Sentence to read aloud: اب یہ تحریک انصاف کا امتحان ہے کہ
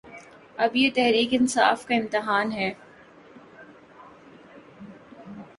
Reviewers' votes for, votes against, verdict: 1, 2, rejected